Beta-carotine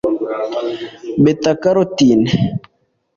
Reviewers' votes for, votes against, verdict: 2, 1, accepted